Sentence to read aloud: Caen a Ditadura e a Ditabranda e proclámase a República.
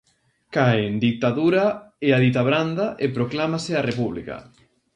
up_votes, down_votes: 0, 2